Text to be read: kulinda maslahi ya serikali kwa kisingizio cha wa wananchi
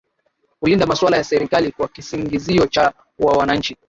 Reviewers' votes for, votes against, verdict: 0, 2, rejected